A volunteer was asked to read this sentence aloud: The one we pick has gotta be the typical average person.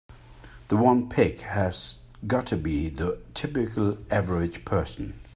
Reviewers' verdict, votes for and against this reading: rejected, 3, 4